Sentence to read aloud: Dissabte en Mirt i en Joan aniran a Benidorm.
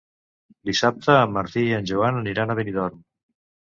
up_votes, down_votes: 1, 2